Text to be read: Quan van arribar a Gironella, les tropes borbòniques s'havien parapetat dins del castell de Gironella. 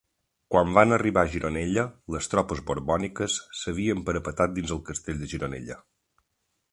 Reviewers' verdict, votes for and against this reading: accepted, 2, 0